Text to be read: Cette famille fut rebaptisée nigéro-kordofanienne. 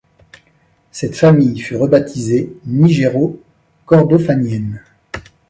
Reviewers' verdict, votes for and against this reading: accepted, 2, 0